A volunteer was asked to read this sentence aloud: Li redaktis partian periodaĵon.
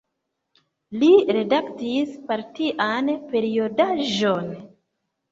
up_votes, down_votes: 3, 0